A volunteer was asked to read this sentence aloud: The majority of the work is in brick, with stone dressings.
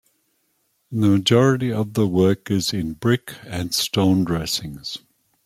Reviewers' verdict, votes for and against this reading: rejected, 1, 2